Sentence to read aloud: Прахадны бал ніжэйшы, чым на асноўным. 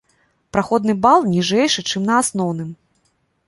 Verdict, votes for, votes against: rejected, 0, 2